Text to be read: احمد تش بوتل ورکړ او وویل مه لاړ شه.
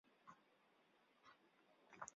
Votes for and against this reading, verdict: 0, 2, rejected